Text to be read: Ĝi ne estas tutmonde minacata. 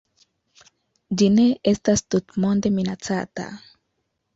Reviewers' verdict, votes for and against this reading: accepted, 2, 0